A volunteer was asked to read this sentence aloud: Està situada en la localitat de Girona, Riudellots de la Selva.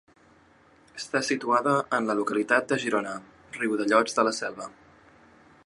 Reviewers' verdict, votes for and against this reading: accepted, 2, 0